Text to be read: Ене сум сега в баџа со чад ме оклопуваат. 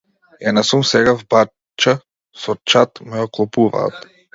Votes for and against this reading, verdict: 0, 2, rejected